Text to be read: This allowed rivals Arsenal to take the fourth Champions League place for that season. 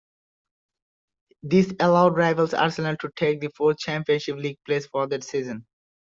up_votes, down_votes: 1, 2